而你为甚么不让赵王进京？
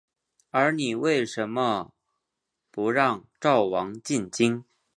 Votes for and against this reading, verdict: 2, 0, accepted